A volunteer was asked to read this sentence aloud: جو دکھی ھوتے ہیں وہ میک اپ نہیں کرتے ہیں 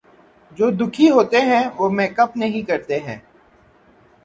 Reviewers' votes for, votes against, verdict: 3, 0, accepted